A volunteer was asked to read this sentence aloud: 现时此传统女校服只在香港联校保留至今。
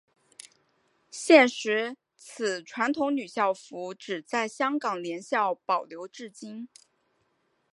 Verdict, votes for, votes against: accepted, 5, 1